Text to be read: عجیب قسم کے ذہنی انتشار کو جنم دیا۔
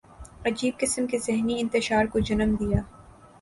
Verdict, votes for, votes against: accepted, 2, 0